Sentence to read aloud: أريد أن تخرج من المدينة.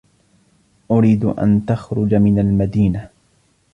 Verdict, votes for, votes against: accepted, 3, 0